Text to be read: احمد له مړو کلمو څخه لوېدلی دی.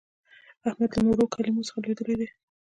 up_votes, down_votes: 2, 0